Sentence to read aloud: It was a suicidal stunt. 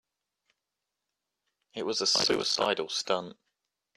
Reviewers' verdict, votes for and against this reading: accepted, 2, 0